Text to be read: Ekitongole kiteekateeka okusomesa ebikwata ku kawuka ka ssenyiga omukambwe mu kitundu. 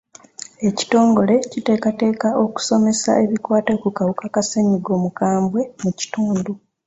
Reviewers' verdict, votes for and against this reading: accepted, 2, 0